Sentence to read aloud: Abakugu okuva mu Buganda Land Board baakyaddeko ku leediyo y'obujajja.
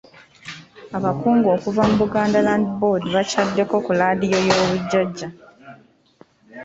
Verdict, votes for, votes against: accepted, 2, 1